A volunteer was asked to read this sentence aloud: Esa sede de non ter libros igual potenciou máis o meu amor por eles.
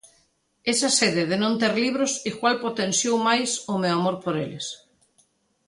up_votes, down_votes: 2, 0